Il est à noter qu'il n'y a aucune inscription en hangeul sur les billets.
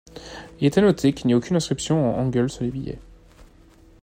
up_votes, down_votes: 2, 0